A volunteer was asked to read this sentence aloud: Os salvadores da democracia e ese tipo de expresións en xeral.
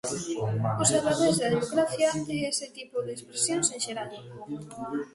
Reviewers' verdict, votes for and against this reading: rejected, 1, 2